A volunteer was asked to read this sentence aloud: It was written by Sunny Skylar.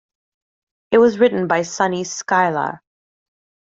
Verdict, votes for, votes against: accepted, 2, 0